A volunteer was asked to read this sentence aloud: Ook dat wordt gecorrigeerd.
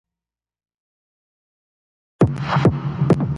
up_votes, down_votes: 0, 2